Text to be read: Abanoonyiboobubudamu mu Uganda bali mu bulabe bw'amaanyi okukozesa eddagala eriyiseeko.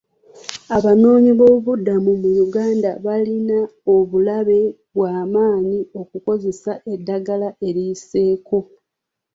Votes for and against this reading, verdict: 0, 3, rejected